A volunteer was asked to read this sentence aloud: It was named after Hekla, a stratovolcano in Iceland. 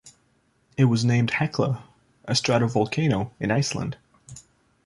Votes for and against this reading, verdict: 1, 3, rejected